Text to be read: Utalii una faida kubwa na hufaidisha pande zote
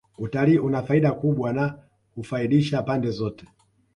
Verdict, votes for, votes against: rejected, 1, 2